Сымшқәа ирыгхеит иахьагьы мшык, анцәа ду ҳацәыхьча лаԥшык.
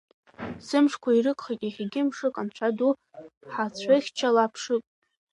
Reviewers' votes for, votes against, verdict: 0, 3, rejected